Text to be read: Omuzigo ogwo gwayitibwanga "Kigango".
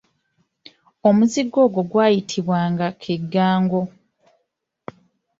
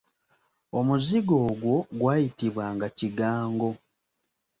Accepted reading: second